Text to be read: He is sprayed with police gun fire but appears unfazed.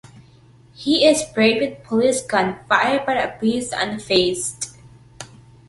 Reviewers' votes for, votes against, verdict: 2, 0, accepted